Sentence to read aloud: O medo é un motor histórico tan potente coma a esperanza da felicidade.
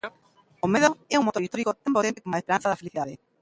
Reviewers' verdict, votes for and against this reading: rejected, 0, 2